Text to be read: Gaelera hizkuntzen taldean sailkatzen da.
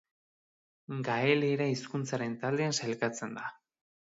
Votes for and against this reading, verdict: 1, 2, rejected